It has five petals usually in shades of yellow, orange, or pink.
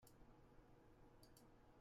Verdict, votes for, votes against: rejected, 0, 2